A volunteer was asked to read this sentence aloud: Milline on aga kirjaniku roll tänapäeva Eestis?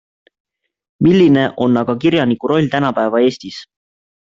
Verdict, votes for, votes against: accepted, 2, 0